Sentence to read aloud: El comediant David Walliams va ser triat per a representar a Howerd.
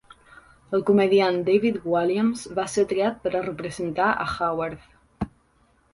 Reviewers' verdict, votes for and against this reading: accepted, 4, 0